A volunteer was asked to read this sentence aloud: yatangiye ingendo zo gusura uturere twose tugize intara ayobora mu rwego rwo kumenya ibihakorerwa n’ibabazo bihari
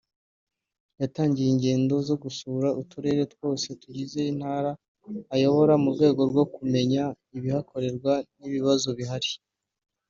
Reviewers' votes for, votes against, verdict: 2, 0, accepted